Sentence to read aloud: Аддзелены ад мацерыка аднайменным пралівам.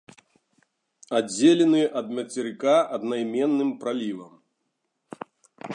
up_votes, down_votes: 2, 0